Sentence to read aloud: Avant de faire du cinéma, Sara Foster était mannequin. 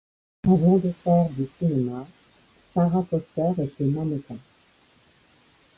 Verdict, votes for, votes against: rejected, 0, 2